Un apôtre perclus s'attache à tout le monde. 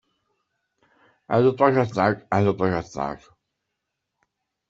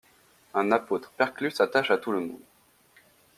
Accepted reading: second